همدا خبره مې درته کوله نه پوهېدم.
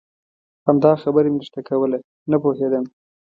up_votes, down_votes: 2, 0